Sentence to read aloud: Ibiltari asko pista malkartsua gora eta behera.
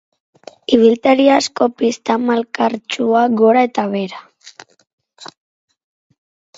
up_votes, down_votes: 6, 0